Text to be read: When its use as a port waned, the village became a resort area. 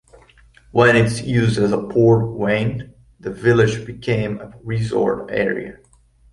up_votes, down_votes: 2, 0